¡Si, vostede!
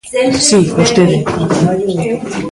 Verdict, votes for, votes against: rejected, 0, 2